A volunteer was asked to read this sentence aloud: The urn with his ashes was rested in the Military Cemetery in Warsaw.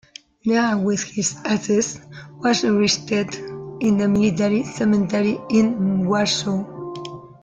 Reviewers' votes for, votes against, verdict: 0, 2, rejected